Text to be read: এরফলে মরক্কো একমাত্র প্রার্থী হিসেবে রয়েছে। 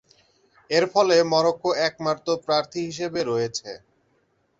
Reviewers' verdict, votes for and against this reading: accepted, 7, 0